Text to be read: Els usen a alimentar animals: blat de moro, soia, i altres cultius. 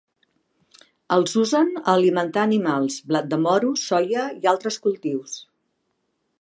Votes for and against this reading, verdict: 2, 1, accepted